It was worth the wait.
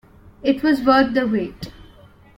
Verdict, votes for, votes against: accepted, 2, 0